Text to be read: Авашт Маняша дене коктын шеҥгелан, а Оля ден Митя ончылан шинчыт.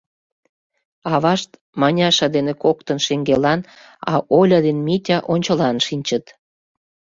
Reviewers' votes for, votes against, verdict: 2, 0, accepted